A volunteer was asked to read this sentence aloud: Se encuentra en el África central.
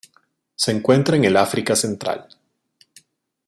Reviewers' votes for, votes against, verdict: 2, 0, accepted